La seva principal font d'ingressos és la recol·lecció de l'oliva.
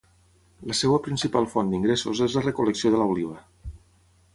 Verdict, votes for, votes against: rejected, 3, 3